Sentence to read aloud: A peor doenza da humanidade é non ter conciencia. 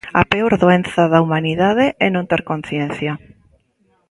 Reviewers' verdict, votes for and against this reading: accepted, 2, 0